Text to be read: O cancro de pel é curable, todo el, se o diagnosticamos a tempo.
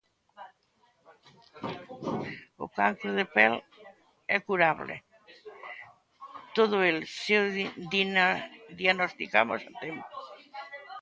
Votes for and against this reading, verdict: 0, 3, rejected